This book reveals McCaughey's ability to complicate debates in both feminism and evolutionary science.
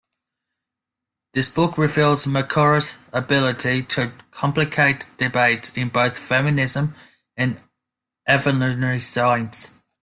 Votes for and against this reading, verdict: 0, 2, rejected